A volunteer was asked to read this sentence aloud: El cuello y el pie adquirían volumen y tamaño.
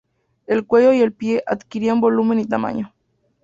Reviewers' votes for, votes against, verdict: 2, 0, accepted